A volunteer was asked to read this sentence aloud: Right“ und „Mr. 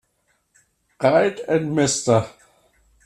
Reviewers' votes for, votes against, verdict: 1, 2, rejected